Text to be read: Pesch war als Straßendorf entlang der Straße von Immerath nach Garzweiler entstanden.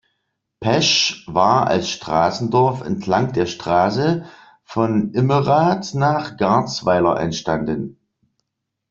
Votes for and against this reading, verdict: 2, 0, accepted